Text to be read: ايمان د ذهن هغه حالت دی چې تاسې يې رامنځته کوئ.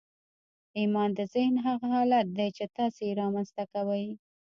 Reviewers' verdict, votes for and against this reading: rejected, 0, 2